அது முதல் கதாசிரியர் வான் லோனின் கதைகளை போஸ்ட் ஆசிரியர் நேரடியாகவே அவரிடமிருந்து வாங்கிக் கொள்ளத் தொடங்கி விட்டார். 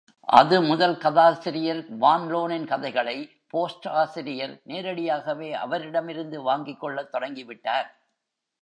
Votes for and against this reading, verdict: 2, 1, accepted